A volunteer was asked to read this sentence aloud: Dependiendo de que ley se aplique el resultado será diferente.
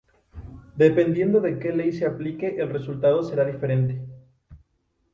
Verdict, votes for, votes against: accepted, 2, 0